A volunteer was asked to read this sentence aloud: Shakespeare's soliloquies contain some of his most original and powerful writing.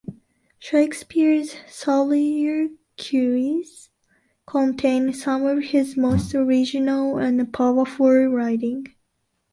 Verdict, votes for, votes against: rejected, 1, 2